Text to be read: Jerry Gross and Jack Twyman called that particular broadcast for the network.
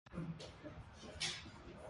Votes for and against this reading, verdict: 0, 2, rejected